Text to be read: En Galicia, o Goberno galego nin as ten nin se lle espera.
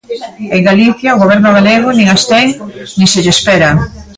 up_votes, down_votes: 2, 0